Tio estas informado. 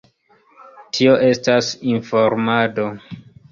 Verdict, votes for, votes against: accepted, 2, 0